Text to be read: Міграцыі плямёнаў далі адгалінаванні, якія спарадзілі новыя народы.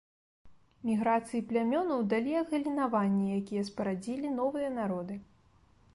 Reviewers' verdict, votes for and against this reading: accepted, 2, 0